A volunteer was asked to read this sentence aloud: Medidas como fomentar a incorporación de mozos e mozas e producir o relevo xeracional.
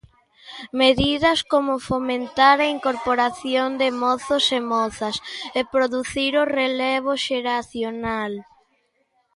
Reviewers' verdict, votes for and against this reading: accepted, 2, 0